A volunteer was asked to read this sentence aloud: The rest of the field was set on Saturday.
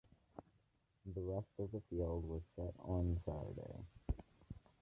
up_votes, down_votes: 2, 0